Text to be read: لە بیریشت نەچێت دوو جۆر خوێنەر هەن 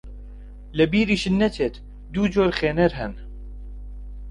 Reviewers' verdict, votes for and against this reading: accepted, 2, 0